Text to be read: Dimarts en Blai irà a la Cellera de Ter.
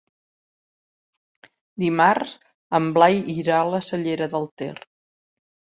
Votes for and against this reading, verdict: 1, 2, rejected